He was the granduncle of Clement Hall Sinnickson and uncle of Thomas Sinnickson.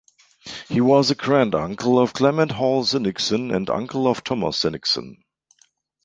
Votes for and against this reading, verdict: 2, 0, accepted